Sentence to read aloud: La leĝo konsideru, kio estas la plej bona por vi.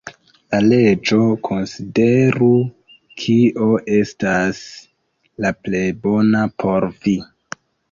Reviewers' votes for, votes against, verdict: 1, 2, rejected